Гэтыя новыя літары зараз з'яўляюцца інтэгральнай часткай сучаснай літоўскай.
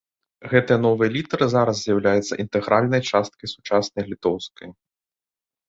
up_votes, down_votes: 2, 1